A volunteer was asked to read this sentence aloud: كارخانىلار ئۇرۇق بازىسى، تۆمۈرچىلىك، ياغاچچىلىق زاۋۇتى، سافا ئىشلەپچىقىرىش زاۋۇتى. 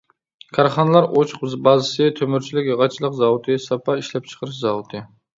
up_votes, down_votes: 0, 2